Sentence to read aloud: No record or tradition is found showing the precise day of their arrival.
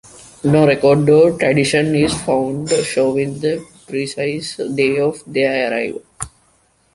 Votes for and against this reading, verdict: 2, 0, accepted